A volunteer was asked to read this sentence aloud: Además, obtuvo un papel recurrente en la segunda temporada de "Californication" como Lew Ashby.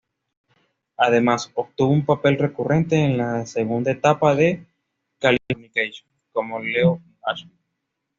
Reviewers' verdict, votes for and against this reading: rejected, 1, 2